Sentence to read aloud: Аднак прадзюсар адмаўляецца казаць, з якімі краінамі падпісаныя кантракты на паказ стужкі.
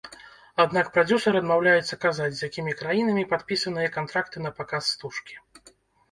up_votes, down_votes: 2, 0